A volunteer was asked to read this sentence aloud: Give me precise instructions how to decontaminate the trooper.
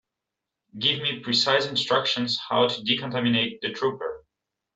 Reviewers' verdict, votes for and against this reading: accepted, 2, 0